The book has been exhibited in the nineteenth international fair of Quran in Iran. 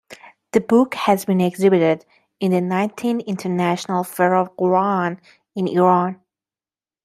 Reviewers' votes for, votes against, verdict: 2, 1, accepted